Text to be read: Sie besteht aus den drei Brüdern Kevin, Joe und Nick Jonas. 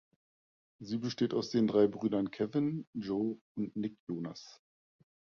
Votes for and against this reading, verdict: 1, 2, rejected